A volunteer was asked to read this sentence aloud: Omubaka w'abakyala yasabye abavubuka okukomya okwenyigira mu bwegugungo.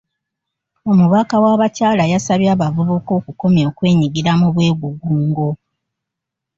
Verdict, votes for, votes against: accepted, 2, 0